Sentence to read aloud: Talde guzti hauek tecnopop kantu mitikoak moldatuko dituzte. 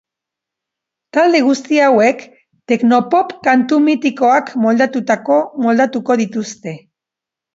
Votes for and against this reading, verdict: 0, 3, rejected